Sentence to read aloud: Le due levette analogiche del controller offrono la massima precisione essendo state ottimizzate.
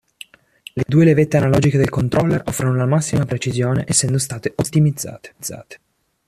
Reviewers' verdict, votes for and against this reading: rejected, 1, 2